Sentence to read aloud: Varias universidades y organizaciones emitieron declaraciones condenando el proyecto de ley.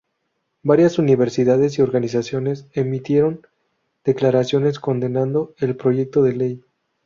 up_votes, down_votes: 0, 2